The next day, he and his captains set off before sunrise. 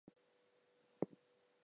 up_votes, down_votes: 0, 2